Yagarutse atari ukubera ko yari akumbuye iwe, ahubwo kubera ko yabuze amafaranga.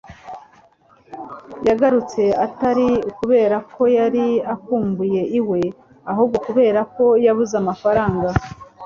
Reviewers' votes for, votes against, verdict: 3, 0, accepted